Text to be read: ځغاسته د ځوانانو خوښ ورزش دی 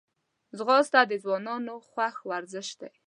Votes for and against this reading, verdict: 2, 0, accepted